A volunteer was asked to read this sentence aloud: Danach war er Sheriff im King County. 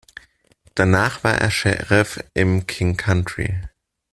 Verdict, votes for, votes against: rejected, 0, 2